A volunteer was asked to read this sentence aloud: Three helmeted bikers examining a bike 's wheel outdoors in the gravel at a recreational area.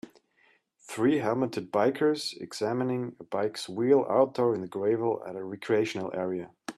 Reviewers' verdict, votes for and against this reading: rejected, 1, 2